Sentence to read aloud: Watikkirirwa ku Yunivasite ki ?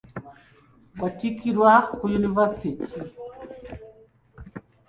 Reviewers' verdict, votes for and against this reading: accepted, 2, 0